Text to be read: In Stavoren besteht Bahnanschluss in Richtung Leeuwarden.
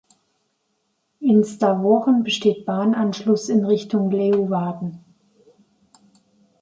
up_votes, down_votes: 3, 0